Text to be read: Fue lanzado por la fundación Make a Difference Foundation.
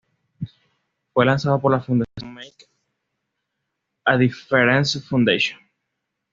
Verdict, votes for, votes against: accepted, 2, 0